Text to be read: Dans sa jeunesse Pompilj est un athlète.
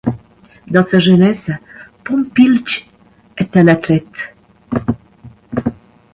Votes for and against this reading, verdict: 3, 0, accepted